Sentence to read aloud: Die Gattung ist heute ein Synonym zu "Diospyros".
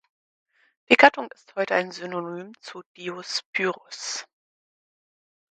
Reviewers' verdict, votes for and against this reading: rejected, 0, 4